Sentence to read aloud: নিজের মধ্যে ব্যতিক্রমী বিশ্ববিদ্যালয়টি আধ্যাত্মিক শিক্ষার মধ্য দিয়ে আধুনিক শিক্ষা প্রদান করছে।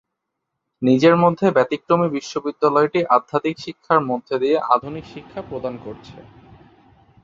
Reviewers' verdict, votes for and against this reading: accepted, 2, 0